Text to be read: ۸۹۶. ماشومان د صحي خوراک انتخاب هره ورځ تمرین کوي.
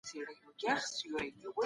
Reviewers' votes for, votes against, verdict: 0, 2, rejected